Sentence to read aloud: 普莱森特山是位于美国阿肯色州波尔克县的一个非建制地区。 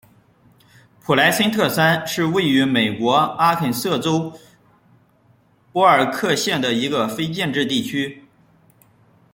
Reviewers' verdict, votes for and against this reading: accepted, 2, 0